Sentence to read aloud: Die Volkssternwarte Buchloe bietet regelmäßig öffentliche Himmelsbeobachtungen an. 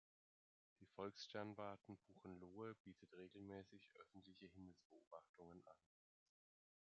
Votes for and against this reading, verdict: 1, 2, rejected